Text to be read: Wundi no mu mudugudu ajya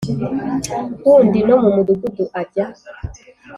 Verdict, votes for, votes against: accepted, 5, 0